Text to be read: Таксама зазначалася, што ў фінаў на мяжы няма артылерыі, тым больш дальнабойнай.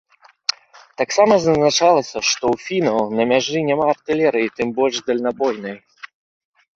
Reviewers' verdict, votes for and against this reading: accepted, 2, 0